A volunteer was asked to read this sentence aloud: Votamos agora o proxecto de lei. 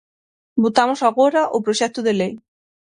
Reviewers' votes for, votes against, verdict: 6, 0, accepted